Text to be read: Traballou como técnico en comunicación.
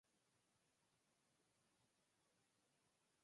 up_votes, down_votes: 2, 4